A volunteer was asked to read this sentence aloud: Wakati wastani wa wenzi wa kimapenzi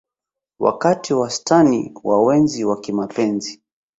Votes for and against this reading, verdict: 1, 2, rejected